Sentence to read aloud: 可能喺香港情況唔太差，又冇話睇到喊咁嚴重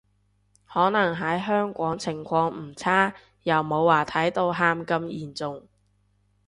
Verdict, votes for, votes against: rejected, 2, 2